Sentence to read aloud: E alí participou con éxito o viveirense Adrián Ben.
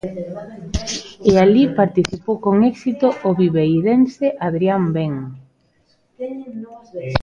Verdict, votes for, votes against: rejected, 0, 2